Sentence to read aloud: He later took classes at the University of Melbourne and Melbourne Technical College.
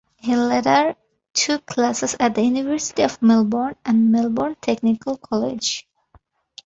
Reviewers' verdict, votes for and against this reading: accepted, 2, 0